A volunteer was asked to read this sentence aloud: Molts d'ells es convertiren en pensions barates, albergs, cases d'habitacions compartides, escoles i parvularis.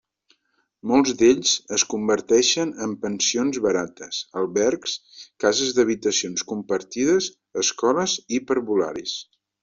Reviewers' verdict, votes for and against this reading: rejected, 1, 2